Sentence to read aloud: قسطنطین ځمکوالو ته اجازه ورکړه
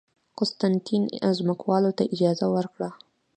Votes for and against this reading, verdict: 2, 0, accepted